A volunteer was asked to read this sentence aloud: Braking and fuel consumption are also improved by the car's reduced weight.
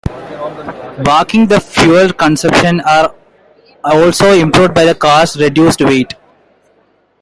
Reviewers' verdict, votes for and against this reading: accepted, 2, 1